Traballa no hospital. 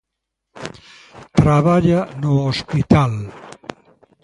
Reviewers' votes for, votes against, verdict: 2, 0, accepted